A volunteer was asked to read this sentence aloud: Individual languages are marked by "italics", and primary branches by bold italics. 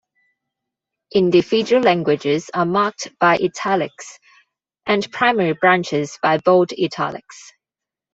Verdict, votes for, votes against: accepted, 2, 0